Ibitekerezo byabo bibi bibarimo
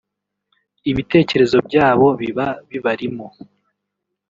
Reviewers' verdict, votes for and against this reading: rejected, 1, 2